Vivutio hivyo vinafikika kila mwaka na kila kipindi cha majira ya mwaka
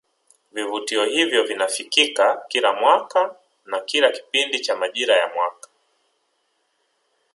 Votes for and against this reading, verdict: 1, 2, rejected